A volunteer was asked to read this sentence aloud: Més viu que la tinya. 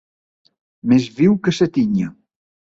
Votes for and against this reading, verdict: 0, 3, rejected